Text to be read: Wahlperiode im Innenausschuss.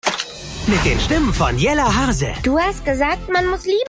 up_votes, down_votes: 0, 2